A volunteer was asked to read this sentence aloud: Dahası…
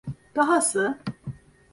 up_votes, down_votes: 2, 0